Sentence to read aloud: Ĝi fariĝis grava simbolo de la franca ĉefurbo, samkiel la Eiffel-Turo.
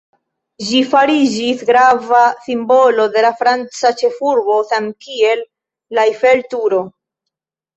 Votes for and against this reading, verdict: 0, 3, rejected